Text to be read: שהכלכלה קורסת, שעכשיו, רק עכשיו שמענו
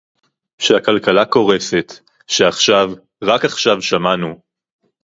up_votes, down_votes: 2, 0